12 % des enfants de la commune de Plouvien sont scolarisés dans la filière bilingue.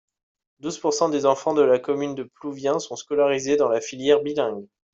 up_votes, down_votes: 0, 2